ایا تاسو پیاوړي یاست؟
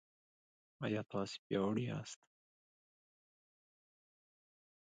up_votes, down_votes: 1, 2